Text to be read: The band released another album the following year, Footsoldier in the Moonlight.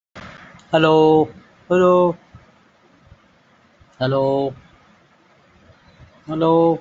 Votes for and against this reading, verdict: 0, 2, rejected